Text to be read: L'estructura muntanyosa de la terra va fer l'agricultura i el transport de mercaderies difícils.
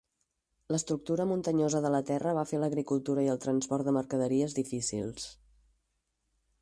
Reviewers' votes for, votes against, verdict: 4, 0, accepted